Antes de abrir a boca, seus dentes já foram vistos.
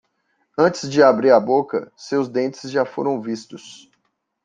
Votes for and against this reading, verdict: 2, 0, accepted